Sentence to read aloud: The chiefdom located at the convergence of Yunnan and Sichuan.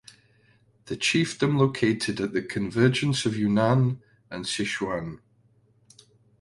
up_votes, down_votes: 2, 0